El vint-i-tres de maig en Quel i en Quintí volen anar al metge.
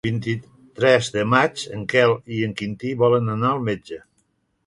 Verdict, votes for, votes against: rejected, 0, 2